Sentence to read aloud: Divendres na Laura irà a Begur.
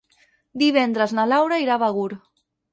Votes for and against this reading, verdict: 6, 0, accepted